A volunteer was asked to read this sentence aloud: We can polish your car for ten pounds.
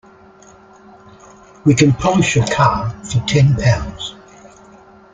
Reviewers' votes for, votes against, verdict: 2, 0, accepted